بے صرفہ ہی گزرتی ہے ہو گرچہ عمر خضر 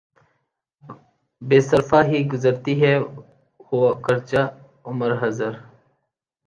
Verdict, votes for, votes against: accepted, 3, 0